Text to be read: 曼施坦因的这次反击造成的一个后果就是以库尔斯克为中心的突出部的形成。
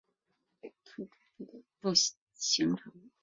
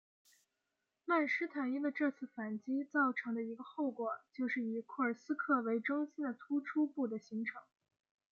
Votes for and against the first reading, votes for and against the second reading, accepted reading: 0, 6, 2, 0, second